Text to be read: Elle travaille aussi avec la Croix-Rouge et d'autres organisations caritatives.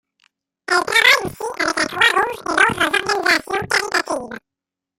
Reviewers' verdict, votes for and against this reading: rejected, 0, 2